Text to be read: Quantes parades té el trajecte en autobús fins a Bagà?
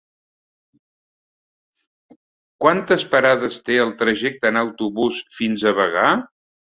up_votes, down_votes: 2, 0